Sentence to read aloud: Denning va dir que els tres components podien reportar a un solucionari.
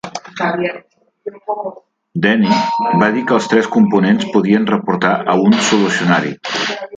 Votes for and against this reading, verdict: 2, 3, rejected